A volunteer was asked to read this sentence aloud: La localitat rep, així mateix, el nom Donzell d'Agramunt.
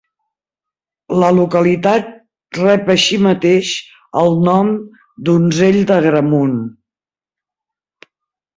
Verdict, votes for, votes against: accepted, 2, 0